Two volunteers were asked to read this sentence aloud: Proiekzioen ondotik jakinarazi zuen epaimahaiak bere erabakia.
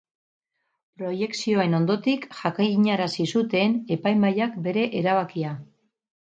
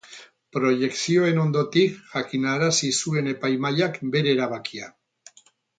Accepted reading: second